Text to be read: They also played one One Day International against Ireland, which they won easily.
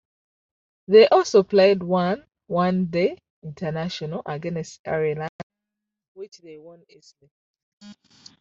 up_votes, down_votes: 0, 2